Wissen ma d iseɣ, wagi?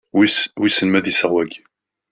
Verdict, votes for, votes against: rejected, 0, 2